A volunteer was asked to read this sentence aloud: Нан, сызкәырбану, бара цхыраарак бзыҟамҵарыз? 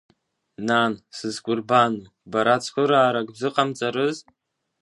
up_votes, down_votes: 2, 0